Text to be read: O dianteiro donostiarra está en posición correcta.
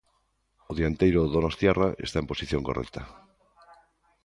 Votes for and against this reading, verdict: 3, 0, accepted